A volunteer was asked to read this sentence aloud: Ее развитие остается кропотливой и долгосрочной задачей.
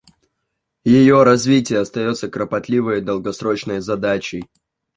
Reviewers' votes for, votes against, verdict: 2, 0, accepted